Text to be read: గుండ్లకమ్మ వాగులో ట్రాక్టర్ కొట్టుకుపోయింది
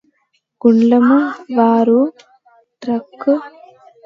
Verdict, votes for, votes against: rejected, 0, 2